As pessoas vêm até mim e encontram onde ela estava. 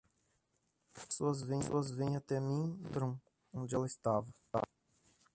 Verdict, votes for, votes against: rejected, 0, 2